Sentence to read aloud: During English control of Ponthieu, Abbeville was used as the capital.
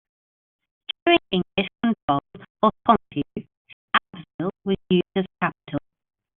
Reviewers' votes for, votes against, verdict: 1, 2, rejected